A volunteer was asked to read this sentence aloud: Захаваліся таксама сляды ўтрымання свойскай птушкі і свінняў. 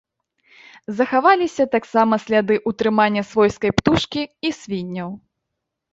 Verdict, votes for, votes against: accepted, 2, 0